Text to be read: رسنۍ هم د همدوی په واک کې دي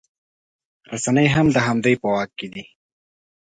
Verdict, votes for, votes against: accepted, 2, 0